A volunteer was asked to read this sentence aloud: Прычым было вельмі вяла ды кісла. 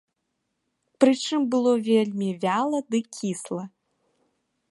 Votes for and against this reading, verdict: 2, 0, accepted